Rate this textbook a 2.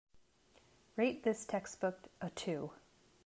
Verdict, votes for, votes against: rejected, 0, 2